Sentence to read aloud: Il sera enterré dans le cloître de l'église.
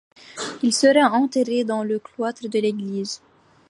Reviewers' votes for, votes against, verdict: 2, 0, accepted